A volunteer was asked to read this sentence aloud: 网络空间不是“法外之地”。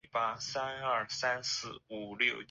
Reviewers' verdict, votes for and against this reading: rejected, 0, 4